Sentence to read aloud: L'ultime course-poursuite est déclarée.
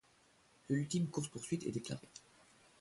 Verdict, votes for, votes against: rejected, 1, 2